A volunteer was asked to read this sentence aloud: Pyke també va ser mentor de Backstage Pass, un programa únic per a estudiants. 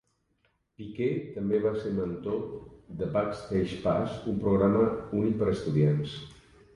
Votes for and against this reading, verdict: 1, 2, rejected